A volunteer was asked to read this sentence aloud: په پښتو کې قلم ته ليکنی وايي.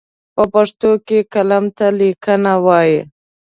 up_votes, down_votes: 0, 2